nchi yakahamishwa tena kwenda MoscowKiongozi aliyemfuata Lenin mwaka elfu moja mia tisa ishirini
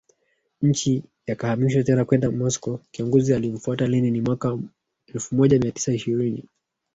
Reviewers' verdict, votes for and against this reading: rejected, 1, 2